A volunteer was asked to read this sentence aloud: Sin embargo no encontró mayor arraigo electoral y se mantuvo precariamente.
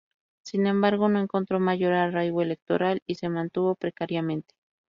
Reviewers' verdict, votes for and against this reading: accepted, 8, 0